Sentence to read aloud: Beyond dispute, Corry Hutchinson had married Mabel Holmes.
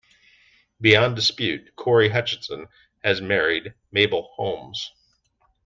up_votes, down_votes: 0, 2